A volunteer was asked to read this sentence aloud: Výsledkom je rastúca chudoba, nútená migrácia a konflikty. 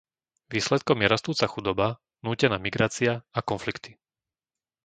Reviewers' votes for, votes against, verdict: 2, 0, accepted